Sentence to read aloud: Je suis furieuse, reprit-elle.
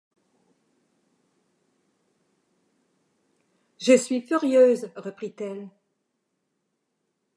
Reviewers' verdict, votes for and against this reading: rejected, 1, 2